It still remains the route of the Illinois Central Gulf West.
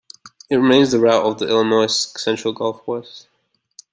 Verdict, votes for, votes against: rejected, 1, 2